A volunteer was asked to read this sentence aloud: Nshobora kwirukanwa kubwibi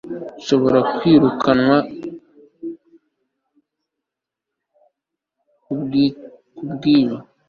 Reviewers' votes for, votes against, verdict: 0, 2, rejected